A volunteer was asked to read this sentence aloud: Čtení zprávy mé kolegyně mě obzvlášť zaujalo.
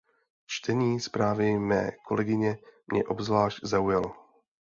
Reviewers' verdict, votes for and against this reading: accepted, 2, 0